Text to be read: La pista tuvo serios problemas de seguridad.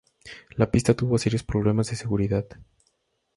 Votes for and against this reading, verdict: 2, 0, accepted